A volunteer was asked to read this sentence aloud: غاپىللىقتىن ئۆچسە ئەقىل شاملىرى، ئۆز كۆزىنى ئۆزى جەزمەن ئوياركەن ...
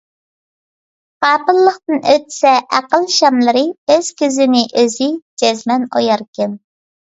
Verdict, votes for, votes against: accepted, 2, 0